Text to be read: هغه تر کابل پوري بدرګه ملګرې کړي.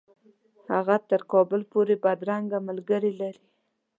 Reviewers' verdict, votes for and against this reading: accepted, 2, 0